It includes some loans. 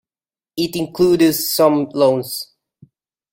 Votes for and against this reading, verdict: 1, 2, rejected